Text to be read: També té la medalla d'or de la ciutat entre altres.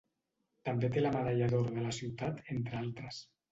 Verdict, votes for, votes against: accepted, 2, 0